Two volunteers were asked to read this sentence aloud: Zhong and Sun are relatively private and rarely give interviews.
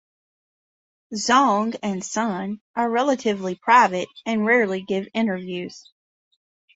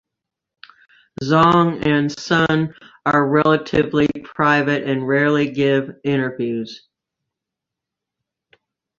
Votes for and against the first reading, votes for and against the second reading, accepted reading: 1, 2, 2, 1, second